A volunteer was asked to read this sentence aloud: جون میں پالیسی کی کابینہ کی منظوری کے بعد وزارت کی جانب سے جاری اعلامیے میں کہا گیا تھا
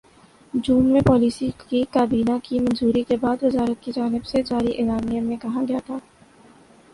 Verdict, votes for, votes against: accepted, 2, 0